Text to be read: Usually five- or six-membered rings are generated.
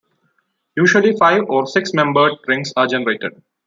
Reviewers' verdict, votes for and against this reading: accepted, 2, 0